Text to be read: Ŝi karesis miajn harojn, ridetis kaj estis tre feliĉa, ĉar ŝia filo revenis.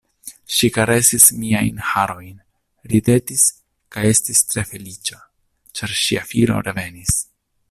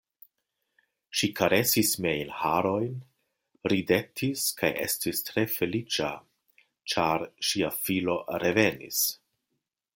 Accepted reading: first